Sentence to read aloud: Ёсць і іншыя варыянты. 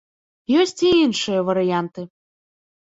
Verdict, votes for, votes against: accepted, 2, 0